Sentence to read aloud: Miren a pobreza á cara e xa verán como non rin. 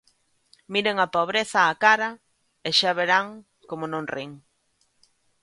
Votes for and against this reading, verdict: 2, 0, accepted